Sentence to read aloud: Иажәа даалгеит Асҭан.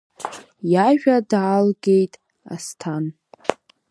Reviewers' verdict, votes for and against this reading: accepted, 3, 0